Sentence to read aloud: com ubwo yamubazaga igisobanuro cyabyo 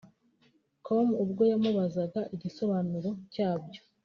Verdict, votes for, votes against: accepted, 3, 0